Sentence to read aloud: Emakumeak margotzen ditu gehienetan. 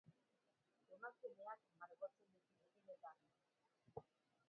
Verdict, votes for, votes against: rejected, 0, 4